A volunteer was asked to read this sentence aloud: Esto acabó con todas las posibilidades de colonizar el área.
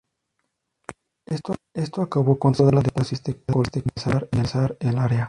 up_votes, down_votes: 0, 2